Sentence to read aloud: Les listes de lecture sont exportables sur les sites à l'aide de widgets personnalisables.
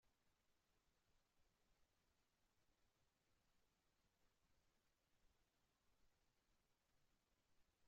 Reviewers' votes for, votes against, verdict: 0, 2, rejected